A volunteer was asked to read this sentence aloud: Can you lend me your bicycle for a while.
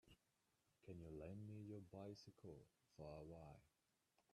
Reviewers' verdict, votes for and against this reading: rejected, 1, 3